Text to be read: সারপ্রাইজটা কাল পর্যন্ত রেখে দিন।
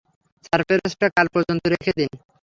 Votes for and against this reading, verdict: 0, 3, rejected